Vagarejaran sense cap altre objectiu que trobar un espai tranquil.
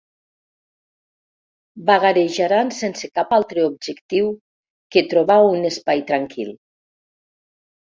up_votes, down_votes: 2, 0